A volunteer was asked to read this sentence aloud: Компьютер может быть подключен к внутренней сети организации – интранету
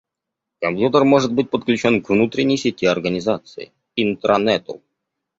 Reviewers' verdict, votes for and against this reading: rejected, 0, 2